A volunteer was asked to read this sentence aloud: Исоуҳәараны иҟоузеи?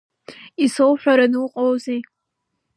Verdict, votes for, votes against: rejected, 1, 3